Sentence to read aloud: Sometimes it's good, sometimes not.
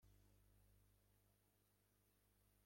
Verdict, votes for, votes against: rejected, 0, 2